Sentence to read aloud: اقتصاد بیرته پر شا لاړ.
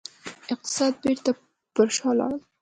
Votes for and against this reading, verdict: 1, 2, rejected